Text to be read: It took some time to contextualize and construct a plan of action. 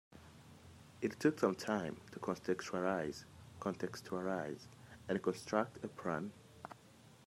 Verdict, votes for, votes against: rejected, 0, 2